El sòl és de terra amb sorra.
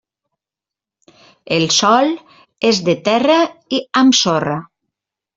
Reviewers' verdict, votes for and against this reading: rejected, 0, 2